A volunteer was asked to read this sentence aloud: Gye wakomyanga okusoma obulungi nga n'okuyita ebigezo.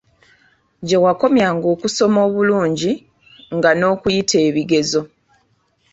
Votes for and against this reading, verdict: 2, 1, accepted